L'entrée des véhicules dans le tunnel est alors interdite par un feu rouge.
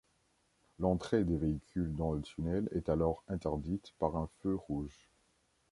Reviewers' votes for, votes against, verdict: 2, 0, accepted